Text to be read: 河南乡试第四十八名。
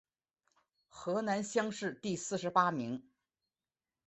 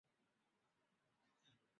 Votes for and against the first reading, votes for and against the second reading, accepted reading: 2, 1, 0, 3, first